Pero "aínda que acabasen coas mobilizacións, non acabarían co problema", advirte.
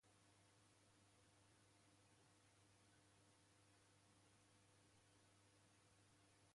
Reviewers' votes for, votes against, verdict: 0, 2, rejected